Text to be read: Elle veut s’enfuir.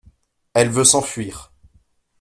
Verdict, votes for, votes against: accepted, 2, 0